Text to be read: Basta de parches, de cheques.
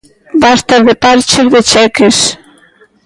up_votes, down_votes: 2, 0